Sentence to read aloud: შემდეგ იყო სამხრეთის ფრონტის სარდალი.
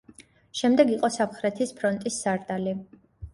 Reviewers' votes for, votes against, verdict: 2, 0, accepted